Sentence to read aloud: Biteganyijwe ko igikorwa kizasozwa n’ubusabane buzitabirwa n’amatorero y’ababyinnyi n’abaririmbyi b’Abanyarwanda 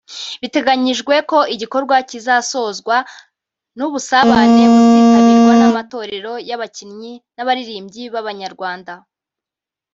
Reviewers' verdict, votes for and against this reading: rejected, 0, 2